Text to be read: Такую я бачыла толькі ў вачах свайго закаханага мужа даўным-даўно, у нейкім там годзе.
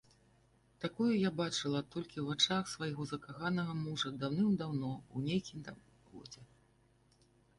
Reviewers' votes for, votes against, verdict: 1, 2, rejected